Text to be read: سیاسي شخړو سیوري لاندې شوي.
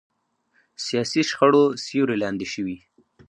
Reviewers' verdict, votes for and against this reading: rejected, 0, 2